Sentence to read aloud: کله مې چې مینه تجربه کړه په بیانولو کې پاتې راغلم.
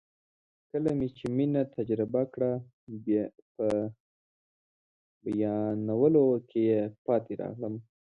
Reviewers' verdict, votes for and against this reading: rejected, 1, 2